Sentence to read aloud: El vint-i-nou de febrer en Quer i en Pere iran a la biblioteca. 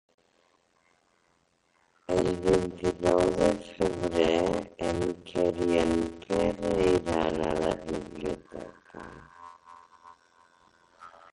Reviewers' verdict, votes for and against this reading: rejected, 0, 2